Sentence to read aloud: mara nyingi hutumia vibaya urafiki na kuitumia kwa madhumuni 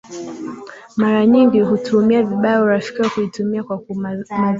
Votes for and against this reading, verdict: 2, 1, accepted